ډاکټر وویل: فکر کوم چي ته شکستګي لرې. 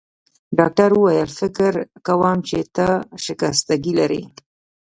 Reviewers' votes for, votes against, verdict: 2, 0, accepted